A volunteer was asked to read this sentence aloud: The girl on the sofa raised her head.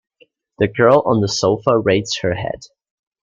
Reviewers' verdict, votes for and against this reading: accepted, 2, 0